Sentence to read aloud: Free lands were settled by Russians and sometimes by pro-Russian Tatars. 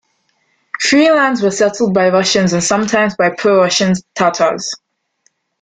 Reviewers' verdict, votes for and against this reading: accepted, 2, 0